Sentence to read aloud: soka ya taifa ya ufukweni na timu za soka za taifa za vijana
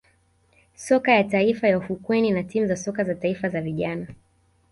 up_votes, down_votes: 0, 2